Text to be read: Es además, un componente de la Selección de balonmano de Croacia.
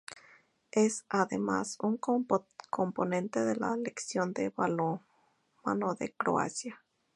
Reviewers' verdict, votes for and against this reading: rejected, 0, 2